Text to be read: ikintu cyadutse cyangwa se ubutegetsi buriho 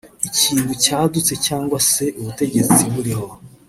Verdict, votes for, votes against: rejected, 0, 2